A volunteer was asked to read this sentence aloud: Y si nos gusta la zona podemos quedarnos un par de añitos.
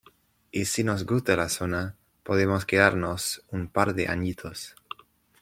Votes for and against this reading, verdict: 2, 0, accepted